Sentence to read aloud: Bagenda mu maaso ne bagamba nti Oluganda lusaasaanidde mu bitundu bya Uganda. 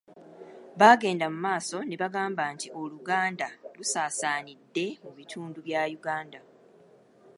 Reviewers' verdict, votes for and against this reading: rejected, 1, 2